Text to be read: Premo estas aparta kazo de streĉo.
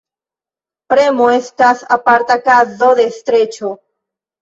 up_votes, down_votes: 2, 1